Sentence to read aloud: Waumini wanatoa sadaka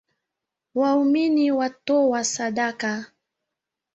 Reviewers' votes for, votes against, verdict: 5, 0, accepted